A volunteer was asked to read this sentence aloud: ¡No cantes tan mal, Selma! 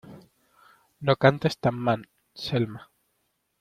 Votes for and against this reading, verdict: 2, 0, accepted